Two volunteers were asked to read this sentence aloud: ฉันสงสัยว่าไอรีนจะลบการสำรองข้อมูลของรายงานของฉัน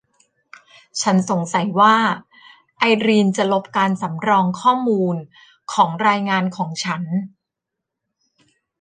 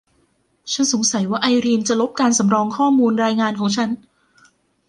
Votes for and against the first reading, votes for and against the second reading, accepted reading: 2, 0, 0, 2, first